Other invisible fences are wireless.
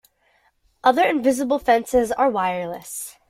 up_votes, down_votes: 2, 0